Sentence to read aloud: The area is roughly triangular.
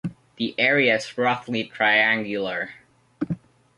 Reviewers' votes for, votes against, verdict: 2, 1, accepted